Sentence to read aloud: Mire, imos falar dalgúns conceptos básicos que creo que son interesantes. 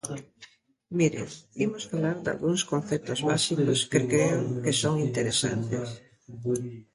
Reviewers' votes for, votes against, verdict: 1, 2, rejected